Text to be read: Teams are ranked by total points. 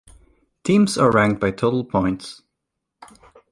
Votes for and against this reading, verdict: 2, 0, accepted